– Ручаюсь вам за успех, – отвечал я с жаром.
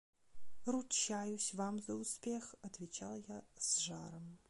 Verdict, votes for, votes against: accepted, 2, 0